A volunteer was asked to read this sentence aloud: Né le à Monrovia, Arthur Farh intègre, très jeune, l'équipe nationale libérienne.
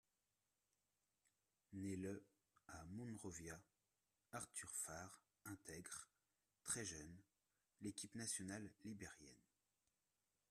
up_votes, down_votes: 1, 2